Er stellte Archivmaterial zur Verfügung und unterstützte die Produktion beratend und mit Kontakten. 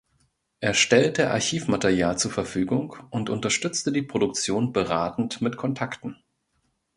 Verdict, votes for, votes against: rejected, 0, 2